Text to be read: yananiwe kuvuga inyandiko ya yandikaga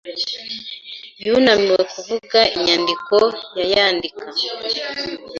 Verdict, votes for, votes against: rejected, 0, 2